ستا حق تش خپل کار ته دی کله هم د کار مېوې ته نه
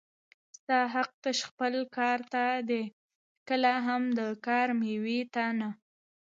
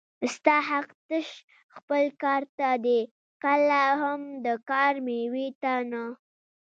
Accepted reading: first